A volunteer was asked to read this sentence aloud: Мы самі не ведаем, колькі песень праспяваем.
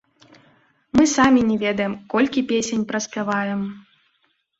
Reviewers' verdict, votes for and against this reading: accepted, 2, 0